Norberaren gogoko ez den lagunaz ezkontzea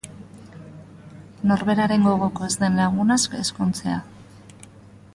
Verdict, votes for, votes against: accepted, 4, 0